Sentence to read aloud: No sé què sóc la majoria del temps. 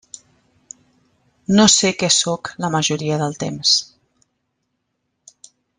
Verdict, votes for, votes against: accepted, 3, 0